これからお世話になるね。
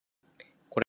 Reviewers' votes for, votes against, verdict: 0, 2, rejected